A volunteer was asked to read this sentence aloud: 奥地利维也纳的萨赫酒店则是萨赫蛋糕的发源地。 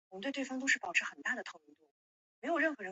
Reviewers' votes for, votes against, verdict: 0, 2, rejected